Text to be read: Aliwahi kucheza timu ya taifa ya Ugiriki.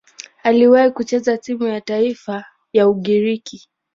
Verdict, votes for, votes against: accepted, 7, 0